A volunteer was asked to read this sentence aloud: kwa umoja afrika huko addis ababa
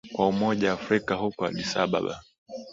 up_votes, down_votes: 17, 1